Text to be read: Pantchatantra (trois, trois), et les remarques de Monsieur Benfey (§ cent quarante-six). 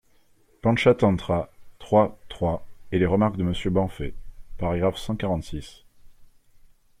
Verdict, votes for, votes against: accepted, 2, 0